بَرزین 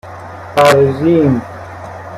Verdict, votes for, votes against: accepted, 2, 0